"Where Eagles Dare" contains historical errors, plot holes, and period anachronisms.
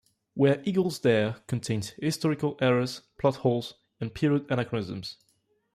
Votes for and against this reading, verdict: 2, 0, accepted